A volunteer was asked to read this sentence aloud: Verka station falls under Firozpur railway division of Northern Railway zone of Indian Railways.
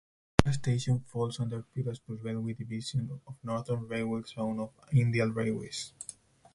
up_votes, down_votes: 2, 4